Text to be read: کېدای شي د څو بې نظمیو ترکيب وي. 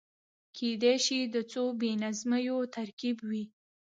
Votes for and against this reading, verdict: 1, 2, rejected